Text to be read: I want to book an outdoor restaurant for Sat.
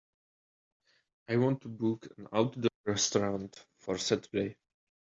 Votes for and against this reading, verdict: 1, 2, rejected